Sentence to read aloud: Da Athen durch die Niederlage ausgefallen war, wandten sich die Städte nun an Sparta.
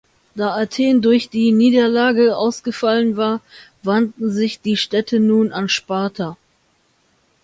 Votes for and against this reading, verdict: 2, 0, accepted